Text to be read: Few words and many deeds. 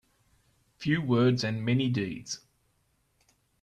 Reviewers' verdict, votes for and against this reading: accepted, 2, 0